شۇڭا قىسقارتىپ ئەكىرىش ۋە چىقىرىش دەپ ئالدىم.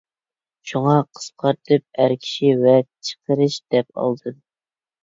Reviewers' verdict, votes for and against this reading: rejected, 0, 2